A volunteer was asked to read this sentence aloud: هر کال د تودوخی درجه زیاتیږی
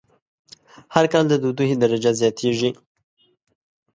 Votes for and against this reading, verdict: 0, 2, rejected